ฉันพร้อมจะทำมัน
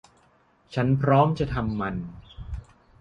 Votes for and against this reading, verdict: 2, 0, accepted